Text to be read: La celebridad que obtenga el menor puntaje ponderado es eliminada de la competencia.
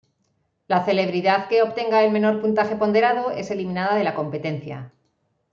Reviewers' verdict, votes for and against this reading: accepted, 2, 0